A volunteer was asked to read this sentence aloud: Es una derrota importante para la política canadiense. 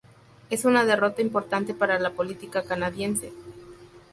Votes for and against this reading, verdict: 2, 0, accepted